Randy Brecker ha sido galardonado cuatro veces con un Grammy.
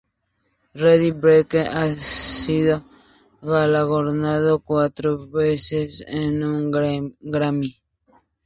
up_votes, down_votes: 0, 2